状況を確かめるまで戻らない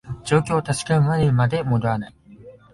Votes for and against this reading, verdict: 1, 2, rejected